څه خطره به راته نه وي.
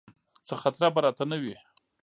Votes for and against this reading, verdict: 2, 0, accepted